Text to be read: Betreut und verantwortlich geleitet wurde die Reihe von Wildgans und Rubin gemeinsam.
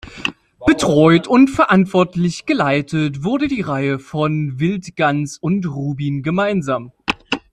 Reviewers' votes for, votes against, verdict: 2, 0, accepted